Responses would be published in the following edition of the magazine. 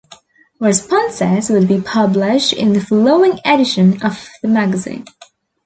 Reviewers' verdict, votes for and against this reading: rejected, 1, 2